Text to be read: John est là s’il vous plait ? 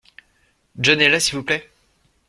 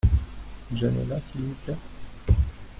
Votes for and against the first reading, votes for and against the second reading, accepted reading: 2, 0, 1, 2, first